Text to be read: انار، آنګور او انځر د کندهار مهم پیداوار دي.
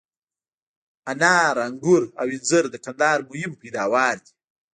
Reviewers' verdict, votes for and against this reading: rejected, 1, 2